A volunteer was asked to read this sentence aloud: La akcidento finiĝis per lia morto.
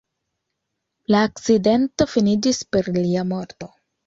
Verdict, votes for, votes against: accepted, 2, 0